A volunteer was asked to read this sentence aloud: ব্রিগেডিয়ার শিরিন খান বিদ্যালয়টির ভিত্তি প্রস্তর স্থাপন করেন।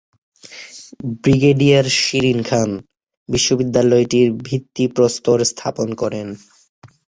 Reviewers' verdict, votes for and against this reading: rejected, 3, 3